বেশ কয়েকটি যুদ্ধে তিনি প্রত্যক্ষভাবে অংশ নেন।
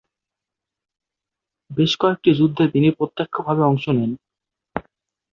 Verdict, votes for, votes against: accepted, 2, 0